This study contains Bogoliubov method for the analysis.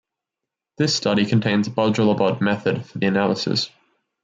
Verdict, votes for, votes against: rejected, 1, 2